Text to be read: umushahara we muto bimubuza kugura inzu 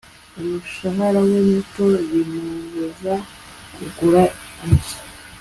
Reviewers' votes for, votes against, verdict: 2, 0, accepted